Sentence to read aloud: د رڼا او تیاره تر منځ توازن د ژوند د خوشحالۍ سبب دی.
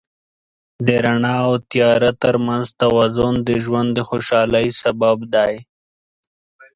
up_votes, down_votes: 9, 1